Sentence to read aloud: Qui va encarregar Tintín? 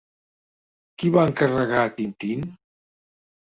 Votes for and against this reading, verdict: 2, 0, accepted